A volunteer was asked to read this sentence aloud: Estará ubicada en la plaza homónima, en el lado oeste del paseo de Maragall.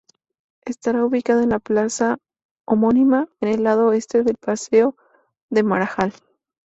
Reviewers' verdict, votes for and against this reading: accepted, 2, 0